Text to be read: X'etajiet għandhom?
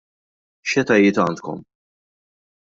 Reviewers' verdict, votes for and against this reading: rejected, 0, 2